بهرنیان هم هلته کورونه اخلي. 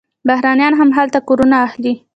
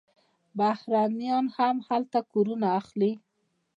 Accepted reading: first